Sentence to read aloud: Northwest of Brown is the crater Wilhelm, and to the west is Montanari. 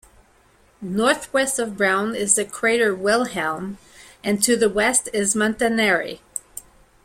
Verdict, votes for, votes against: accepted, 2, 0